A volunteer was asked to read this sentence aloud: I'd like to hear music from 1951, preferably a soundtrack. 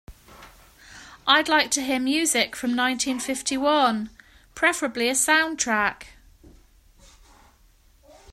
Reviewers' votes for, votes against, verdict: 0, 2, rejected